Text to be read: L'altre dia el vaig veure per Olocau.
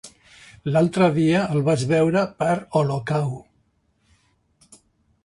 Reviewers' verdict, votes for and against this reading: accepted, 2, 1